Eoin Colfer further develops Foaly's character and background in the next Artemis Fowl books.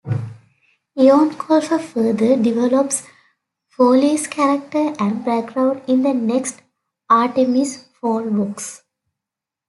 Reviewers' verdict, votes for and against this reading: accepted, 2, 0